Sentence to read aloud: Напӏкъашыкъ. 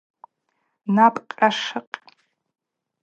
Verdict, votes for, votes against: accepted, 4, 0